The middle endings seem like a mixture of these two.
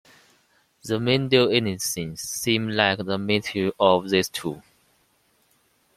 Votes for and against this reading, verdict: 0, 2, rejected